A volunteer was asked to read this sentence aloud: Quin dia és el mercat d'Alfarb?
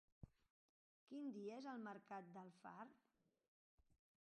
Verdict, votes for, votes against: rejected, 0, 2